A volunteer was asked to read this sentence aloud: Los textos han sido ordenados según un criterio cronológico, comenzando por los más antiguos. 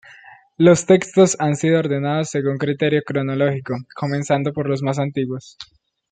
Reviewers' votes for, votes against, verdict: 1, 2, rejected